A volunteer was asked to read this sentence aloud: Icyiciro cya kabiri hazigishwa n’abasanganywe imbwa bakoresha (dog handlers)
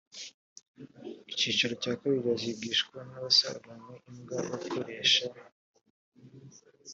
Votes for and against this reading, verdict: 0, 2, rejected